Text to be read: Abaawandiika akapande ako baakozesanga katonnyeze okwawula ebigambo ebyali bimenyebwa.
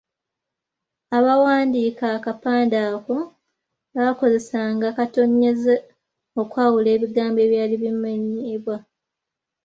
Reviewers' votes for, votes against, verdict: 0, 2, rejected